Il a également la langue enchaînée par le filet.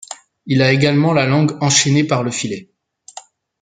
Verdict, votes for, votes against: accepted, 2, 0